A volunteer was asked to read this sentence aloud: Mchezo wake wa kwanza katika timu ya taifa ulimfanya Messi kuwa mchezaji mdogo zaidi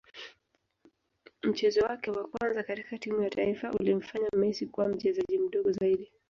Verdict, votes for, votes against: accepted, 6, 0